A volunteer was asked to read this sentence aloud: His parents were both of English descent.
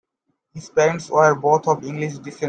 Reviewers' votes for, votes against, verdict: 1, 2, rejected